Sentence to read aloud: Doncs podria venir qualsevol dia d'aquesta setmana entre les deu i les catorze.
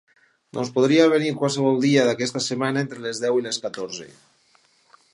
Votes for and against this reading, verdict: 4, 0, accepted